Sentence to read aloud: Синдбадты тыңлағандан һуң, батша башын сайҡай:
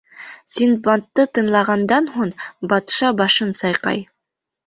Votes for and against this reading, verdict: 3, 0, accepted